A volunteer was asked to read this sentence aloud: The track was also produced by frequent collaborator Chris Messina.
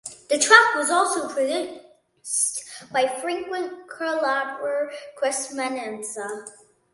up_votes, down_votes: 0, 2